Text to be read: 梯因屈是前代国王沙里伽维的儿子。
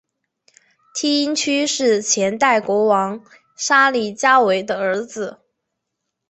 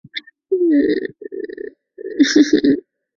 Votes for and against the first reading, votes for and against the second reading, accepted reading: 3, 0, 0, 4, first